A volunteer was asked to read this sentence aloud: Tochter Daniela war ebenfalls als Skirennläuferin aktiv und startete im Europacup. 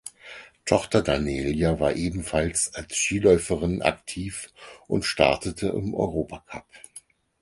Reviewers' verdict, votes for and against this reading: rejected, 0, 4